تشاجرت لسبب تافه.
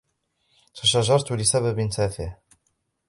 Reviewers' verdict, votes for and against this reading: rejected, 1, 2